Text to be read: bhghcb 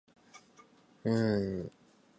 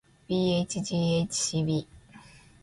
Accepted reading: second